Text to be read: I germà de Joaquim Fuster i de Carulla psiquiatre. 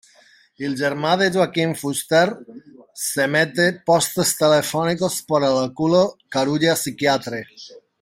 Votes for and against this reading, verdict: 0, 2, rejected